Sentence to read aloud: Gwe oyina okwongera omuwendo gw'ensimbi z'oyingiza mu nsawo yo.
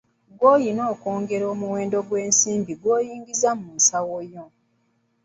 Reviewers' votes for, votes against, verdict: 2, 1, accepted